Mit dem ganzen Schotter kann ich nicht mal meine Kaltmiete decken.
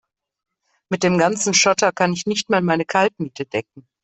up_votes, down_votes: 2, 0